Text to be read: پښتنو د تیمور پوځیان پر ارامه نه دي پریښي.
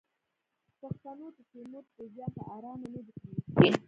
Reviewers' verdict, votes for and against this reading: rejected, 0, 2